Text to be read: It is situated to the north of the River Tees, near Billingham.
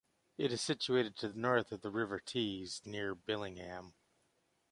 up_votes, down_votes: 2, 1